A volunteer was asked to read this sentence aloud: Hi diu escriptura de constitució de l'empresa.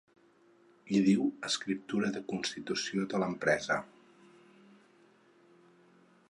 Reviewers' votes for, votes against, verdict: 6, 0, accepted